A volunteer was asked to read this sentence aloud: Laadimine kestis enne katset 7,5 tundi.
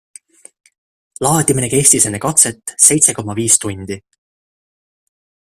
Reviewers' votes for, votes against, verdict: 0, 2, rejected